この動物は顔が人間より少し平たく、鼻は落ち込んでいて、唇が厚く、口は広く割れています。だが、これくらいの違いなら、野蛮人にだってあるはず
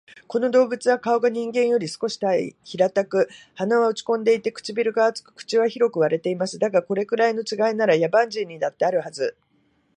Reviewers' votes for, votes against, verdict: 2, 2, rejected